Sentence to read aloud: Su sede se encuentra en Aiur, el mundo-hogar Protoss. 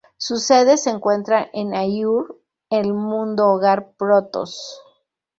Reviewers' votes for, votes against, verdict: 0, 2, rejected